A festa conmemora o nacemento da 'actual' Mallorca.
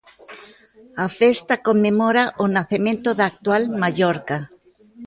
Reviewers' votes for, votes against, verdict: 1, 2, rejected